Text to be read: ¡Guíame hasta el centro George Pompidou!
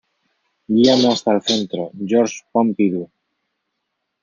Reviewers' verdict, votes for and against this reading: rejected, 0, 2